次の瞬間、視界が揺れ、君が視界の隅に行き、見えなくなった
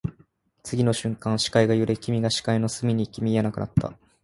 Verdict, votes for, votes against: accepted, 34, 1